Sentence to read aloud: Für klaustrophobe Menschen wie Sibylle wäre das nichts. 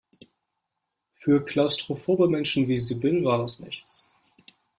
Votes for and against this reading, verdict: 0, 2, rejected